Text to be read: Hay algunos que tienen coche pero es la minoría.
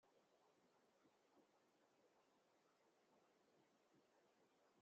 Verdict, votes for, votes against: rejected, 1, 2